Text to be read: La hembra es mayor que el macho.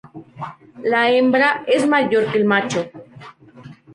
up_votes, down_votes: 0, 2